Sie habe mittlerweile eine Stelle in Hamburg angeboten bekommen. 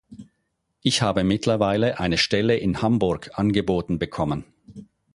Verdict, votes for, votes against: rejected, 0, 4